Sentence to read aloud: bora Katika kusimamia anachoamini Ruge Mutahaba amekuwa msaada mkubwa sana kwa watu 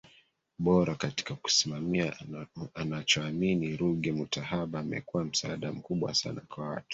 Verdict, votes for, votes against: rejected, 1, 2